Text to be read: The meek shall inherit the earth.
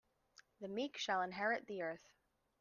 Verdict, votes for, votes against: accepted, 2, 0